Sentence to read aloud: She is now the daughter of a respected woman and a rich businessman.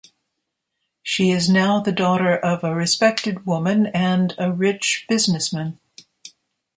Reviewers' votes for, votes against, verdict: 2, 0, accepted